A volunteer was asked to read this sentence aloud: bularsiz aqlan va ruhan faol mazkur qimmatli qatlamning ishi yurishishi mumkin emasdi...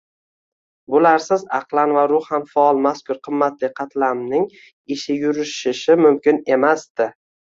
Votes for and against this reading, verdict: 2, 1, accepted